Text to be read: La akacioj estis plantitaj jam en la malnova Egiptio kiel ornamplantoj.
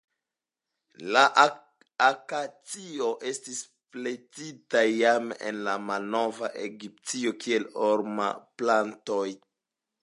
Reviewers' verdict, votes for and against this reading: rejected, 0, 2